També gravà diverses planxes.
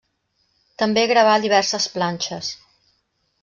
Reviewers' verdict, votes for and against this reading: rejected, 0, 2